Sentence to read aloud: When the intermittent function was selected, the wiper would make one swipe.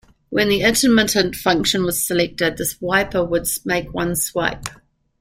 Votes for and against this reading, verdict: 1, 2, rejected